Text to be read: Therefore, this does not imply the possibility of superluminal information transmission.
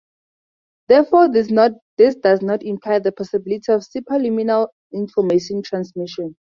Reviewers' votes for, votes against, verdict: 0, 2, rejected